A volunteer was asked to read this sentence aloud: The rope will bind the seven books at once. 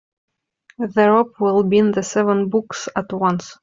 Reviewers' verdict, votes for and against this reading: rejected, 1, 2